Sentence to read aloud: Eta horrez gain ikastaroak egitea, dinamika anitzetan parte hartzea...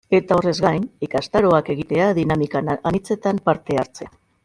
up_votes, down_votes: 2, 0